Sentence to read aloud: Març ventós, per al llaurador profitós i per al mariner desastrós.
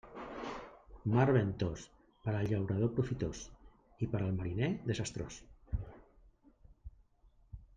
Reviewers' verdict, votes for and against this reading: accepted, 2, 1